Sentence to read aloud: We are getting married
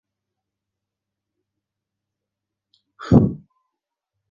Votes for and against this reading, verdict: 0, 2, rejected